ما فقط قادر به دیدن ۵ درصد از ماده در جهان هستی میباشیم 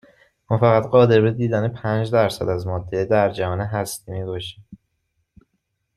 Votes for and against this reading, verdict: 0, 2, rejected